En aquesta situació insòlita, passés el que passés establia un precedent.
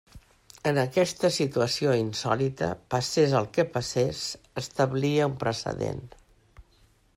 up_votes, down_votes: 3, 0